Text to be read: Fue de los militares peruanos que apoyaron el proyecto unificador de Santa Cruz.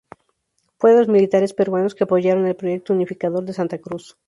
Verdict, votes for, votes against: rejected, 0, 2